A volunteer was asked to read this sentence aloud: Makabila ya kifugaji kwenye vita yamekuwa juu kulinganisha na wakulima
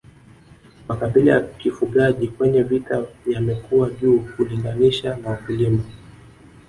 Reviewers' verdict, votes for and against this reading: accepted, 2, 0